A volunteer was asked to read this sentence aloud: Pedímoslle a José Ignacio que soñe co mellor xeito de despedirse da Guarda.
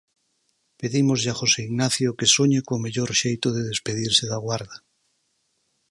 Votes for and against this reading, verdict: 4, 0, accepted